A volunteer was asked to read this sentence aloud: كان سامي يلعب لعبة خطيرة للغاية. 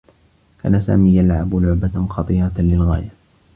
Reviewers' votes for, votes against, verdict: 2, 0, accepted